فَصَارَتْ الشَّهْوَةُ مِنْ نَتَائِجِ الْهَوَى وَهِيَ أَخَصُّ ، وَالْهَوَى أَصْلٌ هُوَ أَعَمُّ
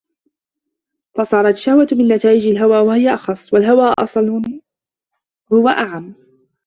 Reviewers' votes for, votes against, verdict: 1, 2, rejected